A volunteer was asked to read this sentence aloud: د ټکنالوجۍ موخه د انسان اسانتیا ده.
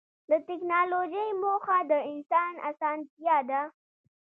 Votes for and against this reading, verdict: 0, 2, rejected